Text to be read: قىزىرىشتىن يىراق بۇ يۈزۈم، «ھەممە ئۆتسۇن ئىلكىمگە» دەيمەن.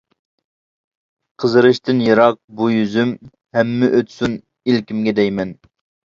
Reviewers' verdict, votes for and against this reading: accepted, 2, 0